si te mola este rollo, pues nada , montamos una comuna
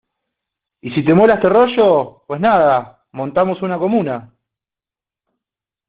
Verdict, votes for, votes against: rejected, 1, 2